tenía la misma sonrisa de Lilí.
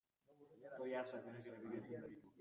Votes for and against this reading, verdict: 0, 2, rejected